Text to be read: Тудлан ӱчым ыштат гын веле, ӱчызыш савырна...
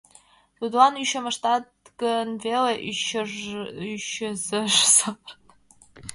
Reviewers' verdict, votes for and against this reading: rejected, 1, 2